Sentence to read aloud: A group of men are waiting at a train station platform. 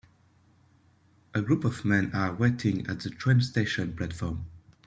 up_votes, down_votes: 2, 0